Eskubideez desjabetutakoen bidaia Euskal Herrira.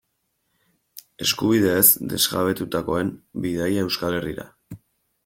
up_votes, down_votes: 2, 0